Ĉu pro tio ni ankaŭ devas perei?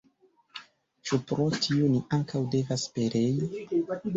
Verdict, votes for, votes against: accepted, 2, 1